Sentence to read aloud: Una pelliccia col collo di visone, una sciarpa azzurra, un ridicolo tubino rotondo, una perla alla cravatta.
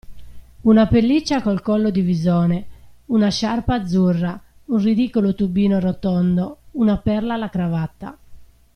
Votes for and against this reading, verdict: 2, 0, accepted